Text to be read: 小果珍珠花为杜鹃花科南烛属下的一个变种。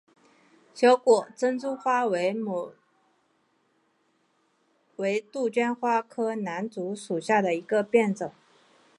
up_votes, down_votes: 3, 4